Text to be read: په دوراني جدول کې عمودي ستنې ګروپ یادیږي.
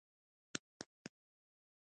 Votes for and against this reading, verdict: 1, 2, rejected